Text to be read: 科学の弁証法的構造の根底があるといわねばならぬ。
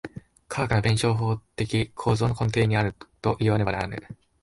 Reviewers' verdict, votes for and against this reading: rejected, 0, 2